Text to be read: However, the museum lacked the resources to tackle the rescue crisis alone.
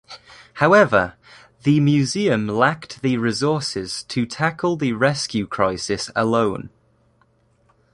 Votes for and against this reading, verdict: 1, 2, rejected